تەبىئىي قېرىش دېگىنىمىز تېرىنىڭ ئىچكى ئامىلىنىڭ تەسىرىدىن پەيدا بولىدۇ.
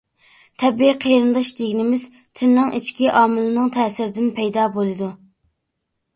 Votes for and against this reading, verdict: 0, 2, rejected